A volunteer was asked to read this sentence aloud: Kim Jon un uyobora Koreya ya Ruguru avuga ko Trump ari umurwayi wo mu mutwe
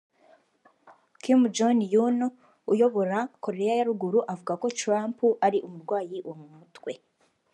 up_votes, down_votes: 2, 0